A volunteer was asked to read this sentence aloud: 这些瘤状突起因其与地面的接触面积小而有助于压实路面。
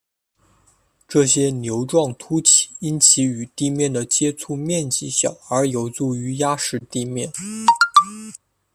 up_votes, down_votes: 0, 2